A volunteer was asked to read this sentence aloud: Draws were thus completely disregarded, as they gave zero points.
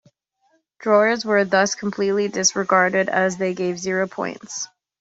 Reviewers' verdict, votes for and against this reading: accepted, 2, 1